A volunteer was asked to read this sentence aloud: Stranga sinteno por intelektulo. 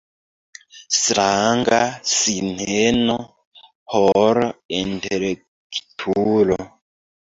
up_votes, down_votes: 0, 2